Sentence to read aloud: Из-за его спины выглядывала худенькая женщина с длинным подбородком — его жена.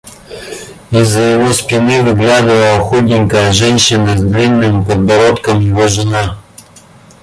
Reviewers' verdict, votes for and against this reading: rejected, 0, 2